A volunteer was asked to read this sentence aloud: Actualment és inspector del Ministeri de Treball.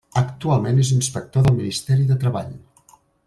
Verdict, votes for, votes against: accepted, 3, 0